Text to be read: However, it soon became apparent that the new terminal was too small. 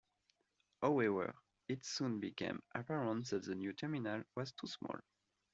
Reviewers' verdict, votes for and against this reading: accepted, 2, 0